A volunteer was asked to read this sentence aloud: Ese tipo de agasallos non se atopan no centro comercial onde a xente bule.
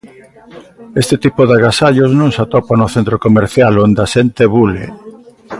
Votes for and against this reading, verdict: 1, 2, rejected